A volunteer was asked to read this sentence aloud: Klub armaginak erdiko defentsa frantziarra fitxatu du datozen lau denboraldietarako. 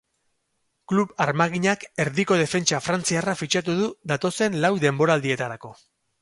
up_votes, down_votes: 6, 0